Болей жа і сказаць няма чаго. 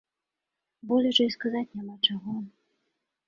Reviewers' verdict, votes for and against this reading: accepted, 2, 0